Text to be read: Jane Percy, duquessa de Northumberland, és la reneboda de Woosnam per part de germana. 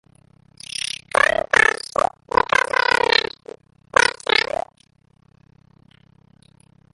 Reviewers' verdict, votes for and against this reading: rejected, 0, 5